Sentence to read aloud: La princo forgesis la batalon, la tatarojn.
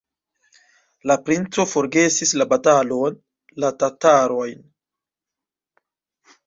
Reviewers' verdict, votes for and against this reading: accepted, 2, 0